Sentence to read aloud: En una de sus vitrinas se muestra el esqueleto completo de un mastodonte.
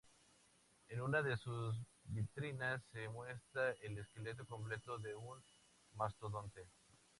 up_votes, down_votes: 2, 0